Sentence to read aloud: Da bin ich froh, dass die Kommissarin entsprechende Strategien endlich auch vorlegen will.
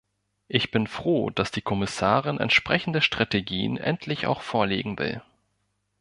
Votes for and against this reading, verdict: 0, 2, rejected